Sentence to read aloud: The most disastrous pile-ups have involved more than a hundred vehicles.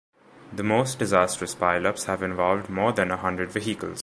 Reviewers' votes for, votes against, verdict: 2, 1, accepted